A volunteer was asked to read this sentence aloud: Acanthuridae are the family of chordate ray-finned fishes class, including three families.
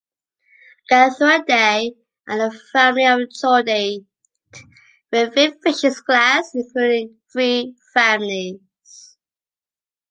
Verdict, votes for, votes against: accepted, 2, 0